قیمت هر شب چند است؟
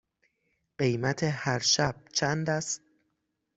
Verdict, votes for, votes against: accepted, 6, 0